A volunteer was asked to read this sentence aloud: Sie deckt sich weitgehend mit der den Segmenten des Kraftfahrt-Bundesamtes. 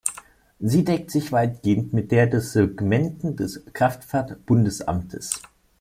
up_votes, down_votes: 0, 2